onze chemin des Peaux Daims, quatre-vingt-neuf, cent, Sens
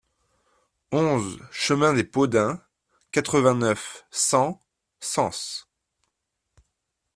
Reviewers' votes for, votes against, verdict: 2, 0, accepted